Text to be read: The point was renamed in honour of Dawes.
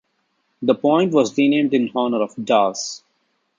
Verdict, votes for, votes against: accepted, 2, 0